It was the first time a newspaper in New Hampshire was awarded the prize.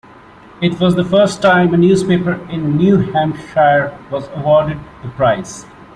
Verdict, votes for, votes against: accepted, 2, 0